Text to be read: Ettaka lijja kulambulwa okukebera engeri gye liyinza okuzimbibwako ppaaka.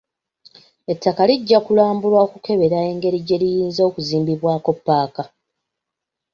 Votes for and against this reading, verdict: 2, 0, accepted